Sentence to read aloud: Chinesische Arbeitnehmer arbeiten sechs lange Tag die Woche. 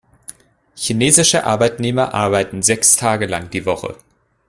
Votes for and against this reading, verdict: 1, 2, rejected